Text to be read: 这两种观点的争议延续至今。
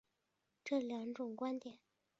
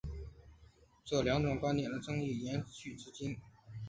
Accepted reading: second